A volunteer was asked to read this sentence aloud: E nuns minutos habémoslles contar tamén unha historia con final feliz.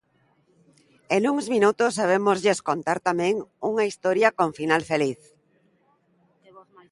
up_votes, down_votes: 1, 2